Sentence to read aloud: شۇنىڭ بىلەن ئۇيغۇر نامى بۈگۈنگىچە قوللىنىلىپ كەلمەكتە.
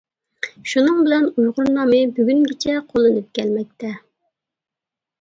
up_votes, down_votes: 1, 2